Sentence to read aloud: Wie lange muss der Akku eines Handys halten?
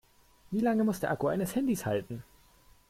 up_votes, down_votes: 2, 0